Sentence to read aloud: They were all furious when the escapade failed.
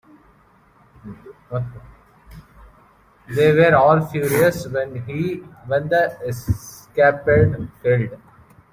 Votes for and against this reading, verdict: 0, 2, rejected